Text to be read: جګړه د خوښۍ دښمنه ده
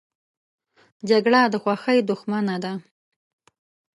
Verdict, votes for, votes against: accepted, 2, 0